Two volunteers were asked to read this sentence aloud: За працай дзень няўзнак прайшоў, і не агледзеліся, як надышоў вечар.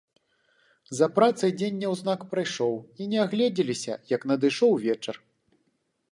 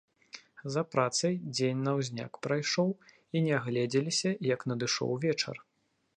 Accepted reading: first